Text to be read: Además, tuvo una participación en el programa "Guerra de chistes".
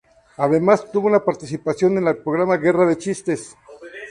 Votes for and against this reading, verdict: 0, 2, rejected